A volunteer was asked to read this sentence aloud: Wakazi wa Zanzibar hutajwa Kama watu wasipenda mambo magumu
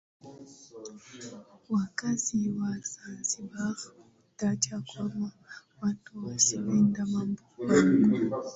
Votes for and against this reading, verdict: 2, 1, accepted